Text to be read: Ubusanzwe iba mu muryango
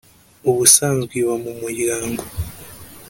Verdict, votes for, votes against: accepted, 2, 0